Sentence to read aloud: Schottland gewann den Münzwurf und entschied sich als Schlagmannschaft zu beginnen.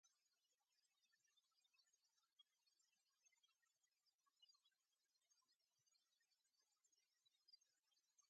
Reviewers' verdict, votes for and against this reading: rejected, 0, 2